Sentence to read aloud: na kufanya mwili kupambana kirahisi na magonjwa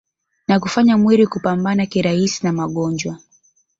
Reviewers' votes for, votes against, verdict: 1, 2, rejected